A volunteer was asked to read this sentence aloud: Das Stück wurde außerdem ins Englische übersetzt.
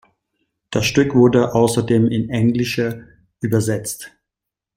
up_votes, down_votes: 1, 2